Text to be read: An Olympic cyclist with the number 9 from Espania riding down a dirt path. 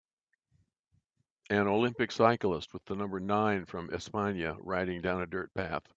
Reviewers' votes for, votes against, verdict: 0, 2, rejected